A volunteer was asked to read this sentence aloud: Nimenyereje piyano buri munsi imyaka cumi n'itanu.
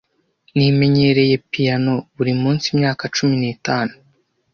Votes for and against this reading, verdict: 1, 2, rejected